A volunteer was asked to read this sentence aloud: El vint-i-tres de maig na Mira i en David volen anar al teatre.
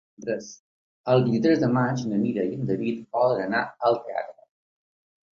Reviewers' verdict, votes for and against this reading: rejected, 1, 2